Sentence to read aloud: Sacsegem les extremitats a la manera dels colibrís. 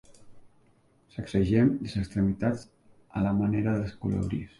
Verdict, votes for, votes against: rejected, 0, 2